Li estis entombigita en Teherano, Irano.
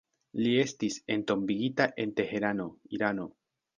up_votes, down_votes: 2, 0